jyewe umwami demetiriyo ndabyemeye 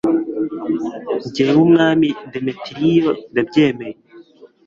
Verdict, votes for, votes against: accepted, 2, 0